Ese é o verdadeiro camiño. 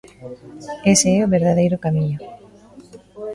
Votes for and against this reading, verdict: 2, 0, accepted